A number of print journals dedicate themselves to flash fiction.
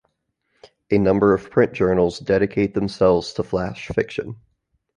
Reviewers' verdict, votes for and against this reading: accepted, 2, 0